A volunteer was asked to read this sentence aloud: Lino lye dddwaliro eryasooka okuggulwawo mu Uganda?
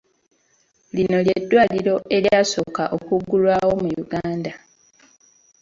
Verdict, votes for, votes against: accepted, 2, 0